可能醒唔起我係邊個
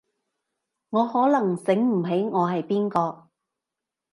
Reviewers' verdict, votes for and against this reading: rejected, 1, 2